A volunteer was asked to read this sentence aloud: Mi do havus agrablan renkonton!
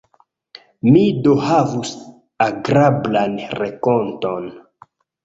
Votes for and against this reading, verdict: 1, 2, rejected